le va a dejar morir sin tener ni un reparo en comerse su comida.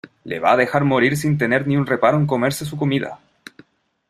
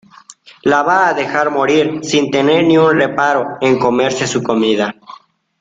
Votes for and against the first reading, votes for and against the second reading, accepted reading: 2, 0, 0, 2, first